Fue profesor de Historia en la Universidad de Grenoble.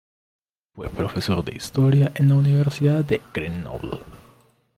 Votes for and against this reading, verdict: 0, 2, rejected